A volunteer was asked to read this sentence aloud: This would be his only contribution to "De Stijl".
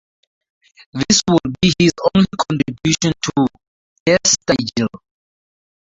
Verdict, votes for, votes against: rejected, 0, 2